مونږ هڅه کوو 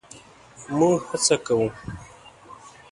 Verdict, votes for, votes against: accepted, 2, 0